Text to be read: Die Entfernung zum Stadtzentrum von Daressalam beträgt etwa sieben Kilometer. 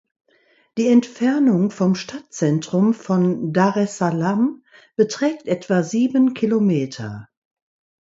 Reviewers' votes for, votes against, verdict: 0, 2, rejected